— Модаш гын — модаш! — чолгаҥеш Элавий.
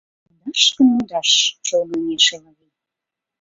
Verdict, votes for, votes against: rejected, 1, 2